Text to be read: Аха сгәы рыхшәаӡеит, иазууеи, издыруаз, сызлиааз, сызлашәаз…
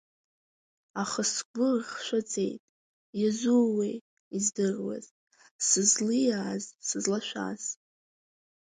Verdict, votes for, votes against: rejected, 1, 2